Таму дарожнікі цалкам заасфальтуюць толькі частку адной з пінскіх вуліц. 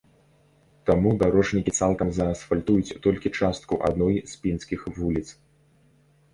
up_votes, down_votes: 2, 0